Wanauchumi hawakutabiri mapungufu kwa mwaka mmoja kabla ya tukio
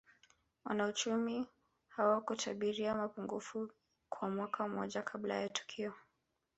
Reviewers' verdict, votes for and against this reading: rejected, 1, 2